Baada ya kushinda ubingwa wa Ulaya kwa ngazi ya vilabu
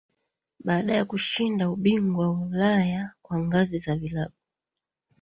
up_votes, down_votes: 1, 2